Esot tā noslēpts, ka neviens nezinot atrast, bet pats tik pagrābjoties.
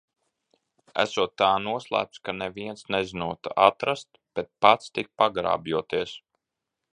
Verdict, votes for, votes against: rejected, 1, 2